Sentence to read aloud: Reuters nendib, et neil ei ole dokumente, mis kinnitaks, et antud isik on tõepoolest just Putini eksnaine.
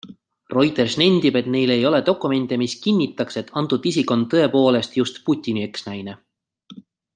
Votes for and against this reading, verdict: 2, 0, accepted